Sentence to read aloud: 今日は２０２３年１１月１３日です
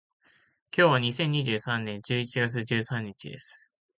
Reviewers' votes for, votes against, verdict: 0, 2, rejected